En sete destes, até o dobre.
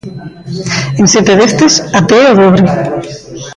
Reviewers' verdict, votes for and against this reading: rejected, 0, 2